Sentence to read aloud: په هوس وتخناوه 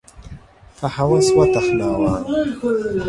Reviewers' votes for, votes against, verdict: 0, 2, rejected